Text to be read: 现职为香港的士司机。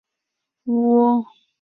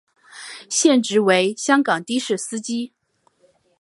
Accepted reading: second